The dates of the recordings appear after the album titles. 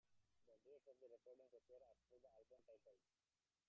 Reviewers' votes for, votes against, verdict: 0, 2, rejected